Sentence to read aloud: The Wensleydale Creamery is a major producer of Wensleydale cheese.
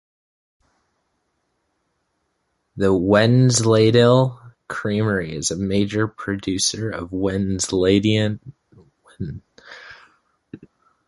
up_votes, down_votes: 0, 2